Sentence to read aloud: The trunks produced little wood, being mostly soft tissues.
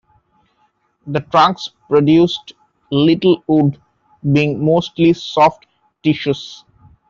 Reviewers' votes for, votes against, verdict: 2, 0, accepted